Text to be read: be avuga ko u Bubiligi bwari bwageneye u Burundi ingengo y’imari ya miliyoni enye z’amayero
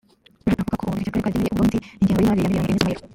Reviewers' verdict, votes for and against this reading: rejected, 1, 2